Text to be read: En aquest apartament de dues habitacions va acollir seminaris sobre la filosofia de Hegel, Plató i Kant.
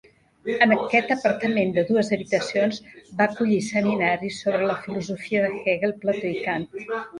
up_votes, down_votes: 1, 2